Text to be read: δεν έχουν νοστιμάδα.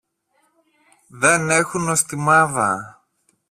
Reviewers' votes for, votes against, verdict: 1, 2, rejected